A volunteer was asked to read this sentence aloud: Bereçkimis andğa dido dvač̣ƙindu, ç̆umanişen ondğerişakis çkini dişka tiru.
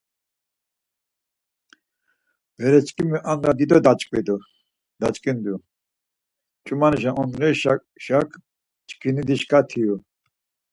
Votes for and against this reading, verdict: 0, 4, rejected